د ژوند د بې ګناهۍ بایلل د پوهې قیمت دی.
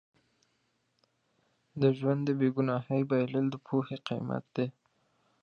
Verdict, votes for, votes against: accepted, 2, 0